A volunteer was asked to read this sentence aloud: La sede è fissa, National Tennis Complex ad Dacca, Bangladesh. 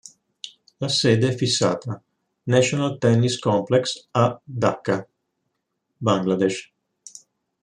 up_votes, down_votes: 0, 2